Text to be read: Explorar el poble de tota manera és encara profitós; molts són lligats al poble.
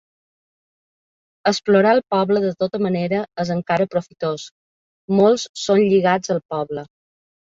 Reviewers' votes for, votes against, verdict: 2, 0, accepted